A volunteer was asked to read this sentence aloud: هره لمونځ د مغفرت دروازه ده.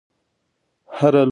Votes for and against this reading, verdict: 1, 2, rejected